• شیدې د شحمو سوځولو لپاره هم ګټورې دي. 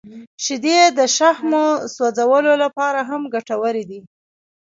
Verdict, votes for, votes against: rejected, 1, 2